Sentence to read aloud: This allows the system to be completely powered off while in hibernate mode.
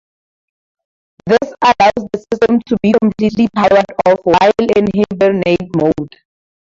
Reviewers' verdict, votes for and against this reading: rejected, 0, 2